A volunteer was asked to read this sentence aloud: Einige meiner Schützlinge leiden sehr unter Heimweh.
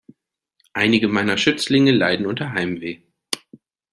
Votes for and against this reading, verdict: 1, 2, rejected